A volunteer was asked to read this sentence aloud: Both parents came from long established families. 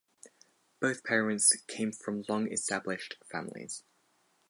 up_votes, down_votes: 4, 0